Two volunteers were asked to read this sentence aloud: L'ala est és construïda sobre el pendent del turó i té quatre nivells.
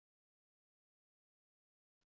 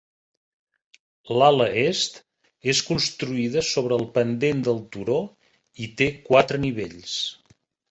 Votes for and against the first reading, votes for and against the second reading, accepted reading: 0, 2, 8, 0, second